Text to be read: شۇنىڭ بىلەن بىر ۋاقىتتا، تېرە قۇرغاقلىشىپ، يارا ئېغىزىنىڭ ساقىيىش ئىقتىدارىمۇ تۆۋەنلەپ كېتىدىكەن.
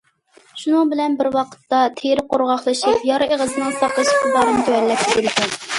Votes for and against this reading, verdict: 1, 2, rejected